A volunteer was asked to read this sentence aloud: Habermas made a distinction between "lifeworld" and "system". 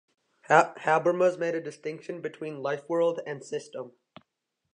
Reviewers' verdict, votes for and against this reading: rejected, 1, 2